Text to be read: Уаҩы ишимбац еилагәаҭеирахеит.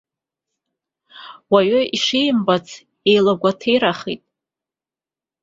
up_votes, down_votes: 2, 0